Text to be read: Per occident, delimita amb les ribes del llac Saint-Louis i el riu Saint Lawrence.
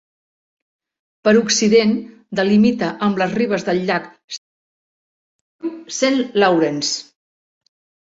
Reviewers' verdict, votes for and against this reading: rejected, 0, 2